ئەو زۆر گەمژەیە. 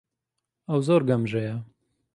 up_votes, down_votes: 3, 0